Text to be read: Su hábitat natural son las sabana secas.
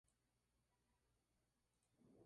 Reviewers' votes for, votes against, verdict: 0, 2, rejected